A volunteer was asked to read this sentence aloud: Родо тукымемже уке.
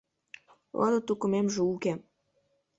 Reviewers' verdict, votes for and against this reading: accepted, 2, 1